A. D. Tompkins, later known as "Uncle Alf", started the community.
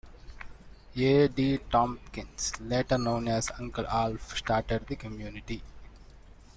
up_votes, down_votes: 2, 0